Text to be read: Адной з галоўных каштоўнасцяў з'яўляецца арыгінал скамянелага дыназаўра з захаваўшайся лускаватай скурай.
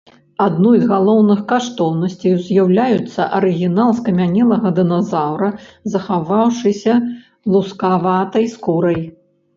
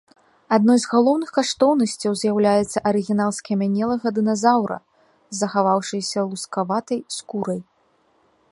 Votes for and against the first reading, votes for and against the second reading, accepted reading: 0, 2, 2, 0, second